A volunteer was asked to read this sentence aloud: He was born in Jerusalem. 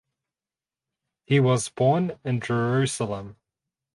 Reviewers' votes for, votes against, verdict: 2, 2, rejected